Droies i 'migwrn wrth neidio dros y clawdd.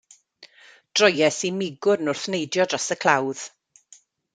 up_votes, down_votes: 2, 0